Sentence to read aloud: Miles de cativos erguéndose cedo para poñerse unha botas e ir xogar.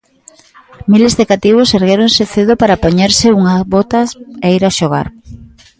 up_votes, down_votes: 0, 2